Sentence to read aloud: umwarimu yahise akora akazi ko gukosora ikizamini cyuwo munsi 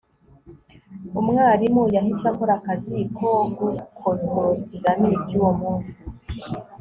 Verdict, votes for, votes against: accepted, 2, 0